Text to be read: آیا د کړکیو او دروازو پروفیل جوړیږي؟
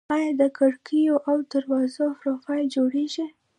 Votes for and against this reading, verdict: 0, 2, rejected